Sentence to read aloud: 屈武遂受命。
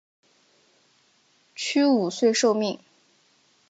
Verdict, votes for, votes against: accepted, 7, 2